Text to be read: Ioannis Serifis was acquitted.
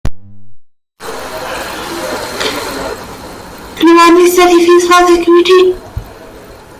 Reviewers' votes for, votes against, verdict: 0, 3, rejected